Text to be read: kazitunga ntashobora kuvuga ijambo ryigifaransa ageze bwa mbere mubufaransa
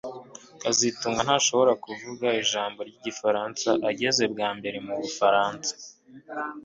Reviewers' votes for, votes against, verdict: 2, 0, accepted